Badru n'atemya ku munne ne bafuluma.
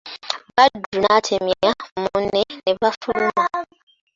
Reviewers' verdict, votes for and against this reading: rejected, 1, 3